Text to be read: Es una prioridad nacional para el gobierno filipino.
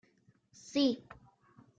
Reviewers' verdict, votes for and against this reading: rejected, 0, 2